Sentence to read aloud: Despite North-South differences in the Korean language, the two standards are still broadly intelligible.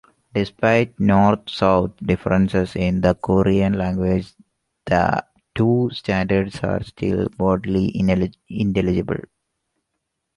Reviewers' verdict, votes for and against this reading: rejected, 0, 3